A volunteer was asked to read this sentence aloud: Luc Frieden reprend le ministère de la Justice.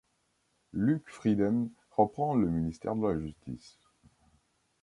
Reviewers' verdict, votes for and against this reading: accepted, 2, 0